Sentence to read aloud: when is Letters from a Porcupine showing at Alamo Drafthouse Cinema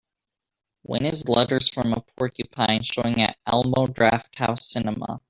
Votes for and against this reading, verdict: 2, 1, accepted